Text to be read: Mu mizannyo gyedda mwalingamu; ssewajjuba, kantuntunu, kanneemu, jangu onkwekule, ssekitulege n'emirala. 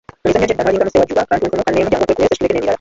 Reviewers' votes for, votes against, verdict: 1, 2, rejected